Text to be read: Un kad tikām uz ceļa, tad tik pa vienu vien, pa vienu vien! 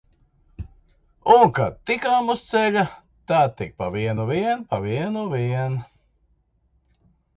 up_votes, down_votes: 1, 2